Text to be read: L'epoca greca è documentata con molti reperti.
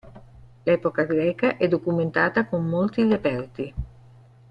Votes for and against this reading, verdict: 1, 3, rejected